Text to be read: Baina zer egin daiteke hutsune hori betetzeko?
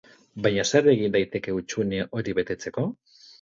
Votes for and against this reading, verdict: 4, 0, accepted